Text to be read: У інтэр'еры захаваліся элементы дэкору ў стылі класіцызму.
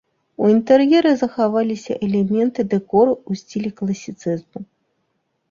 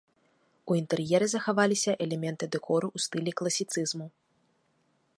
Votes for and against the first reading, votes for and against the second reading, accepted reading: 0, 2, 2, 0, second